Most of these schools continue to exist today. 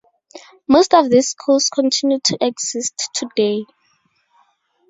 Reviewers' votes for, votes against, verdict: 2, 4, rejected